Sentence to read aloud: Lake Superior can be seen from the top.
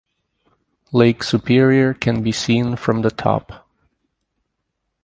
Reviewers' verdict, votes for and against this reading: accepted, 6, 0